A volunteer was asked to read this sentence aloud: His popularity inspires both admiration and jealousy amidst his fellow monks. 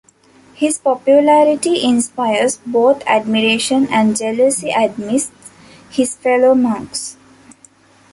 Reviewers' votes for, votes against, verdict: 1, 2, rejected